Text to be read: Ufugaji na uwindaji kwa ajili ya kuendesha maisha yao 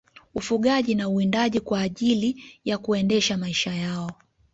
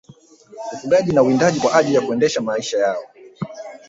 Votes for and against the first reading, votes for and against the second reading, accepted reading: 2, 0, 2, 3, first